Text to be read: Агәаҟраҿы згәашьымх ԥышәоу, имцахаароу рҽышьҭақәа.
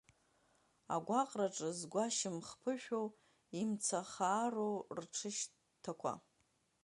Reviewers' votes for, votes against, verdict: 1, 4, rejected